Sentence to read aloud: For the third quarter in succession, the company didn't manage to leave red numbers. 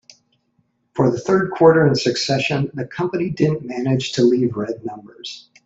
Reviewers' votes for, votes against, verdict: 2, 0, accepted